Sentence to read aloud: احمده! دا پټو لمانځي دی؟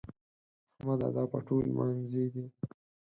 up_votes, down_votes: 0, 4